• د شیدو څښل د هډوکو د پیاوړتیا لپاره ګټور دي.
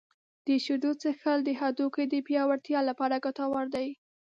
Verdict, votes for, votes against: accepted, 8, 1